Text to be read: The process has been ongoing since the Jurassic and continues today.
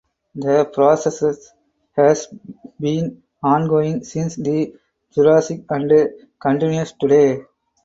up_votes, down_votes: 0, 2